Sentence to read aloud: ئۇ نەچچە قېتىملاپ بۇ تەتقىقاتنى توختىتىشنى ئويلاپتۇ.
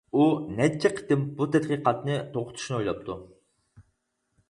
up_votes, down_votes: 0, 4